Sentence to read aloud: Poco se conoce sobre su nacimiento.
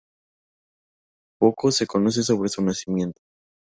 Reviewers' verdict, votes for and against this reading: accepted, 2, 0